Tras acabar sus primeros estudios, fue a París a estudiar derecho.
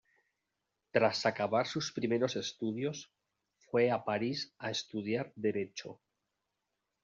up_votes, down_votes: 2, 0